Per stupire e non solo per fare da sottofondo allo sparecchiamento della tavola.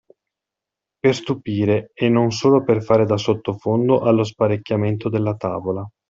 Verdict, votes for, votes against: accepted, 2, 0